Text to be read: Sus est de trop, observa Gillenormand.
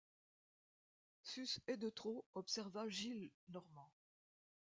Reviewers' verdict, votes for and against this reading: accepted, 2, 0